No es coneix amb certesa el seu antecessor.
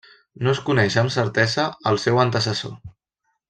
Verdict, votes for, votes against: rejected, 1, 2